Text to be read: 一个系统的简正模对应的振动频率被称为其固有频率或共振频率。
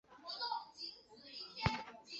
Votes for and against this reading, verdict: 2, 1, accepted